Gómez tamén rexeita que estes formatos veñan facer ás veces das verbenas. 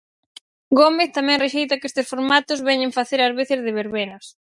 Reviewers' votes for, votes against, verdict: 0, 4, rejected